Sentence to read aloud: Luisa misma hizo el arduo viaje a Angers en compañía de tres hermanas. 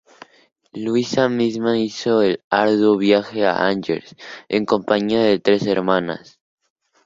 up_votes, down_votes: 2, 0